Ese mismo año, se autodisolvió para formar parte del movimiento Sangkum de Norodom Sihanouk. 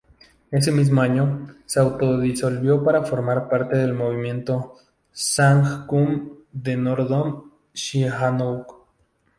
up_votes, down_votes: 0, 2